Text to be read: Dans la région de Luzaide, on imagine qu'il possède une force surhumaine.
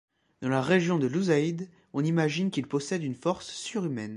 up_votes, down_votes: 2, 0